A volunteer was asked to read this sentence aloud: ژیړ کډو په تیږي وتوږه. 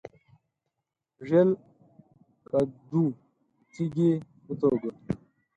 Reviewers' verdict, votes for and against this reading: rejected, 2, 4